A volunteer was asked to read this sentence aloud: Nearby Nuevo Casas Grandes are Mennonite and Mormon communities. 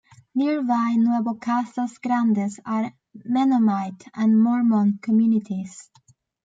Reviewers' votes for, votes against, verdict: 2, 0, accepted